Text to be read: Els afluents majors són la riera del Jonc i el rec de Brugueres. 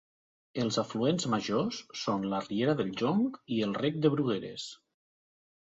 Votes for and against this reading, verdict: 5, 1, accepted